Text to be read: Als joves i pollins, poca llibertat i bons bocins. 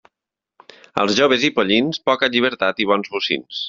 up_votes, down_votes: 2, 0